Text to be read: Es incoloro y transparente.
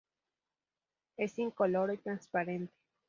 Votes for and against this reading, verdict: 2, 0, accepted